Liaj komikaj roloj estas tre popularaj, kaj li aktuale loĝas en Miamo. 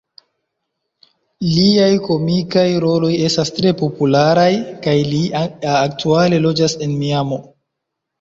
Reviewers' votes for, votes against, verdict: 0, 2, rejected